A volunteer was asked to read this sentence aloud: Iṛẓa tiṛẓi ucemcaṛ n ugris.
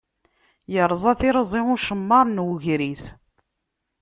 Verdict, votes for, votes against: rejected, 0, 2